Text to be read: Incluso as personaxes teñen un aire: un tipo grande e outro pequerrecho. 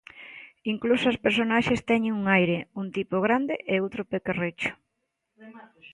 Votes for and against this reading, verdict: 2, 0, accepted